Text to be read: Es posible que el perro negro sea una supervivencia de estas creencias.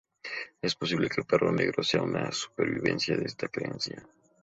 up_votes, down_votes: 2, 0